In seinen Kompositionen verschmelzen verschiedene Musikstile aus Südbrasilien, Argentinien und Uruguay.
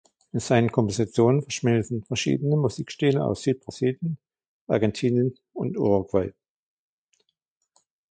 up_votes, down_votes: 2, 1